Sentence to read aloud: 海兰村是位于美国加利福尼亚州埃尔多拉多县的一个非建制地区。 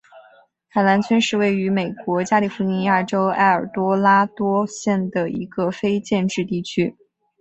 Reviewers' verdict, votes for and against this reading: rejected, 2, 2